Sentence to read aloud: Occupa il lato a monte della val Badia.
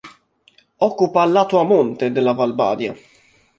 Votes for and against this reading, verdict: 1, 2, rejected